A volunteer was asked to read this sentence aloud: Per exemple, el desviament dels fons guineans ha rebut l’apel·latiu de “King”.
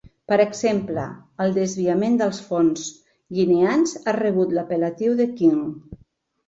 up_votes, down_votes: 2, 0